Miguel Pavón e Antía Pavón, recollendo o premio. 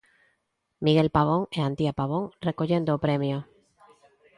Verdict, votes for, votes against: accepted, 2, 0